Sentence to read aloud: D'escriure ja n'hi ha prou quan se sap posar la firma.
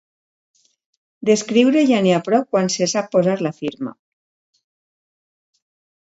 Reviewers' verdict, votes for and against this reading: accepted, 2, 0